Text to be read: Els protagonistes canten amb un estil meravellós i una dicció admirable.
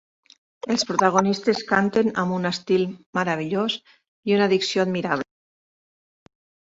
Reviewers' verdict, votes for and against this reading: rejected, 1, 2